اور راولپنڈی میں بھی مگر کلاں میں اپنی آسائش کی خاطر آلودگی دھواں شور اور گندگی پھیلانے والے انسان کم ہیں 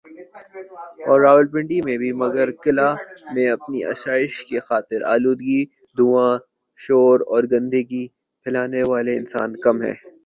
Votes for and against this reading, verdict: 0, 2, rejected